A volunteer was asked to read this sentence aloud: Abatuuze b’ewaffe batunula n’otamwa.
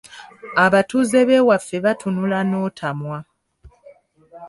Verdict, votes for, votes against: accepted, 2, 1